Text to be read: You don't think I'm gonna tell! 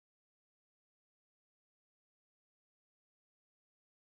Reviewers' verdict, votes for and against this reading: rejected, 0, 2